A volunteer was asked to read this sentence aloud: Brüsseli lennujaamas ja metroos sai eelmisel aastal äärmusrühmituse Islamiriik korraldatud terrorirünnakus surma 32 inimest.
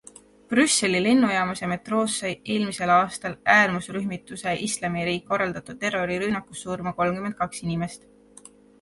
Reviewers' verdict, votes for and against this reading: rejected, 0, 2